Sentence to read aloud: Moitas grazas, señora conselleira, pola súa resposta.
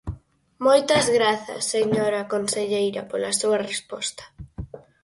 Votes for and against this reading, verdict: 4, 0, accepted